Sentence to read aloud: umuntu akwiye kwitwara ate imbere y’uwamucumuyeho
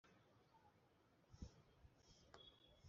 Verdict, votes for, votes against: rejected, 1, 3